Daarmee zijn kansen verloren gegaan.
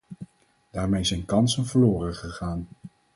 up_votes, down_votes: 4, 0